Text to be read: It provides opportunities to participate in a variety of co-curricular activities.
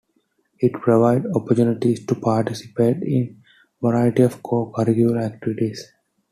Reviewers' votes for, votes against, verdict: 1, 2, rejected